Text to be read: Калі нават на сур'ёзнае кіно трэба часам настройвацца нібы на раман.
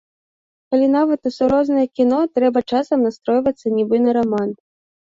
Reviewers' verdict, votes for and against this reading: rejected, 1, 2